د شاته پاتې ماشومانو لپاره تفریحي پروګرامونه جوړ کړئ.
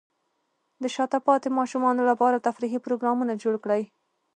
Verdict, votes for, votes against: accepted, 2, 0